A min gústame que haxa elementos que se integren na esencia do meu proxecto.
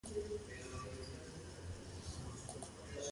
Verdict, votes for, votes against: rejected, 0, 2